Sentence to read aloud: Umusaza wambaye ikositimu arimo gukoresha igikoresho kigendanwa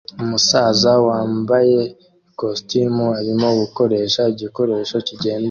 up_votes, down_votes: 2, 3